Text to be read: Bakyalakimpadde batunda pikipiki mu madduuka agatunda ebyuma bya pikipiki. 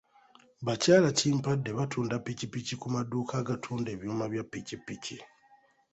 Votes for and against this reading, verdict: 0, 2, rejected